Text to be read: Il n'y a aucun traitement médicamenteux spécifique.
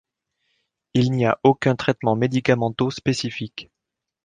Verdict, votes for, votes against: rejected, 1, 2